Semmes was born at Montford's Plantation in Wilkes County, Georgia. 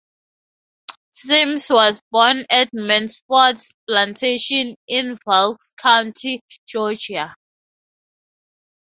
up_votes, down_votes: 0, 2